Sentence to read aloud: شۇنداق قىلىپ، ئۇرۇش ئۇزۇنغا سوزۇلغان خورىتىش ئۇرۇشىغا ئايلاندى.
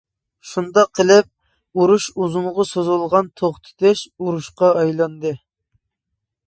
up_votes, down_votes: 0, 2